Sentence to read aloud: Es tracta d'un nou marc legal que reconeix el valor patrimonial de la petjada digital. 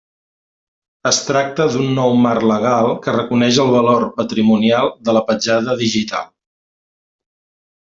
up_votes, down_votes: 2, 0